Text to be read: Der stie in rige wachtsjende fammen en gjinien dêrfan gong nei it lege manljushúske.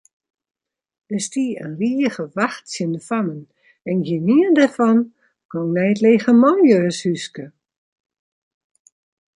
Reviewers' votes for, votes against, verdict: 1, 2, rejected